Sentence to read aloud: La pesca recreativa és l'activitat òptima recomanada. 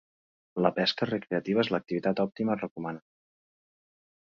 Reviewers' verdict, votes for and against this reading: rejected, 1, 2